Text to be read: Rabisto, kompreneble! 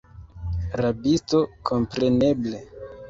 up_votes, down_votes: 2, 1